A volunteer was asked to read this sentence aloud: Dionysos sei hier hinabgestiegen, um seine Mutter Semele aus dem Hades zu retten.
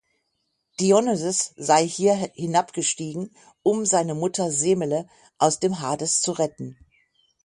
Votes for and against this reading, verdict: 6, 3, accepted